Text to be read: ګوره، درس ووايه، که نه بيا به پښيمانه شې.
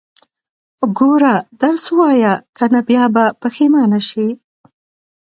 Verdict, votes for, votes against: accepted, 2, 0